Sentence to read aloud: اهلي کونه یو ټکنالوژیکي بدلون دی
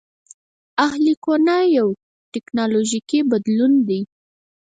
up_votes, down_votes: 0, 4